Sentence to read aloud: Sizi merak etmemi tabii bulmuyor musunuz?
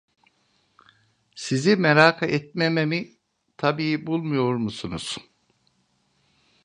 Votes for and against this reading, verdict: 0, 2, rejected